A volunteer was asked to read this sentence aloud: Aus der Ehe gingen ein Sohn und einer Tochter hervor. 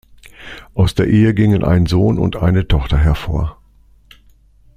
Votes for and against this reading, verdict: 2, 0, accepted